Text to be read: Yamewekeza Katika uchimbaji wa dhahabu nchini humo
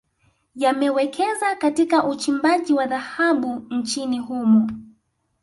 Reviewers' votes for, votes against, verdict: 2, 0, accepted